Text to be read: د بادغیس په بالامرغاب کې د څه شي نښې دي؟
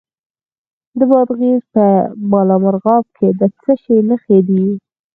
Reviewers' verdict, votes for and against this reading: rejected, 2, 4